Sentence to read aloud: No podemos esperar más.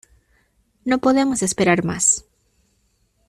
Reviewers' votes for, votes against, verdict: 2, 0, accepted